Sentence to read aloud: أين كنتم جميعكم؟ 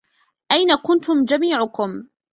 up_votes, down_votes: 2, 0